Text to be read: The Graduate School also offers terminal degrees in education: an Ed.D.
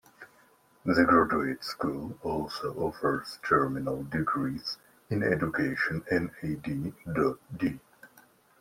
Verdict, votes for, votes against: rejected, 1, 2